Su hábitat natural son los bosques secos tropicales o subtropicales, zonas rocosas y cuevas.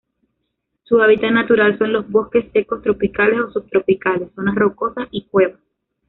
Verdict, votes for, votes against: rejected, 1, 2